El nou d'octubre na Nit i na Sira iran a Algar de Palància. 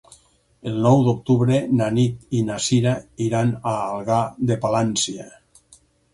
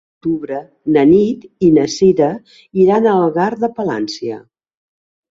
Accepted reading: first